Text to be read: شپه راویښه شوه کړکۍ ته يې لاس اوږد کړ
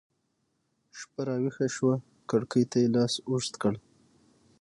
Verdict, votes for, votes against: rejected, 0, 6